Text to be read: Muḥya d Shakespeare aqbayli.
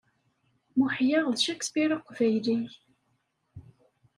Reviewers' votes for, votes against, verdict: 2, 0, accepted